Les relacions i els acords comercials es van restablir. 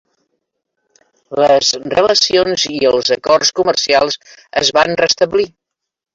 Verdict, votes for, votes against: rejected, 0, 2